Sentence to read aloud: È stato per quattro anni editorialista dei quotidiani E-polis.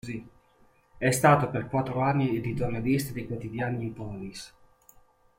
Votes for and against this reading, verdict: 1, 2, rejected